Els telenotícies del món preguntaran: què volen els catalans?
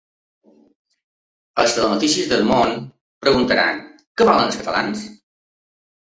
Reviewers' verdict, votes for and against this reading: accepted, 2, 0